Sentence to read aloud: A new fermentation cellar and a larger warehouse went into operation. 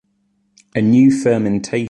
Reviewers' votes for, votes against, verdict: 0, 2, rejected